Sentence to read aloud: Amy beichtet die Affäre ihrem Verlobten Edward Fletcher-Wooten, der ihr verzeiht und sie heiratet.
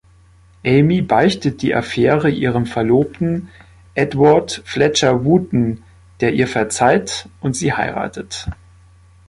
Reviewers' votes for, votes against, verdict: 2, 0, accepted